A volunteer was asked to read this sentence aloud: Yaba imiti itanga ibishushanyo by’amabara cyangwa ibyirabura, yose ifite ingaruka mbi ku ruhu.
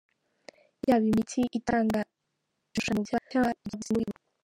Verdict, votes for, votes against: rejected, 1, 2